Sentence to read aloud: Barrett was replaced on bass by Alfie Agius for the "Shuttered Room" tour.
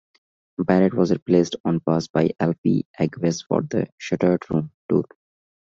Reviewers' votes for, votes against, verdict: 2, 0, accepted